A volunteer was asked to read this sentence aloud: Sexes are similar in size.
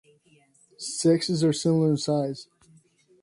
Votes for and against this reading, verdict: 2, 0, accepted